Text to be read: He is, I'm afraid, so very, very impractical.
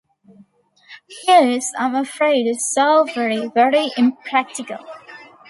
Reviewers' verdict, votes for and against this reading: accepted, 2, 0